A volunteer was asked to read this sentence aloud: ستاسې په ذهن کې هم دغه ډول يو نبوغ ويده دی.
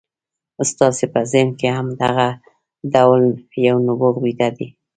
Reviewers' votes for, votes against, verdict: 0, 2, rejected